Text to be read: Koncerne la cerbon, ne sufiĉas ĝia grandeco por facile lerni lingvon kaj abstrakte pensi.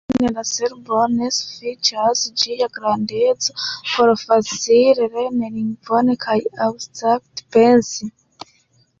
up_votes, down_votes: 2, 3